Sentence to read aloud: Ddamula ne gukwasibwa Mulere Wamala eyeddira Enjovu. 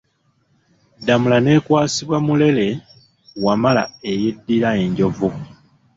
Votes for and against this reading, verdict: 0, 2, rejected